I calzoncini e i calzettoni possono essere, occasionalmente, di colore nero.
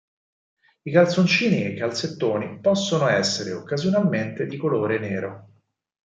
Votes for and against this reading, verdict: 4, 0, accepted